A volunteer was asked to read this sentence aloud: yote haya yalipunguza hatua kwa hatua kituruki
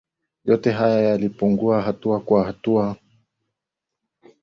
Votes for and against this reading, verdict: 0, 2, rejected